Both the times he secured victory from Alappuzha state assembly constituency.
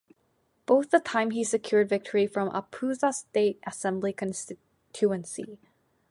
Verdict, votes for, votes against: rejected, 0, 2